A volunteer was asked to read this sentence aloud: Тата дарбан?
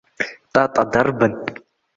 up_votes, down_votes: 0, 2